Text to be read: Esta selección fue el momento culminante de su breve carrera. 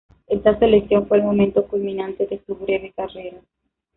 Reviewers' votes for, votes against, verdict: 2, 0, accepted